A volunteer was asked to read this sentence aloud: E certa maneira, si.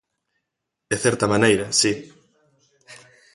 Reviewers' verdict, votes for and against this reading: accepted, 2, 0